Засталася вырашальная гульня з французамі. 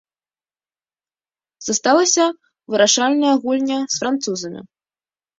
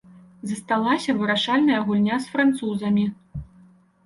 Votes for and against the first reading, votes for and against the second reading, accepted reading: 0, 2, 2, 0, second